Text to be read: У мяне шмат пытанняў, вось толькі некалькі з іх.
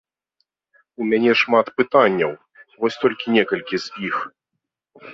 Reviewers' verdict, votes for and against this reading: accepted, 2, 0